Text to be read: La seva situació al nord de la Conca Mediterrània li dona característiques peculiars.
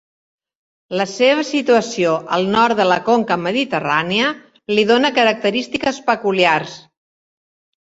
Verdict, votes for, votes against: accepted, 3, 0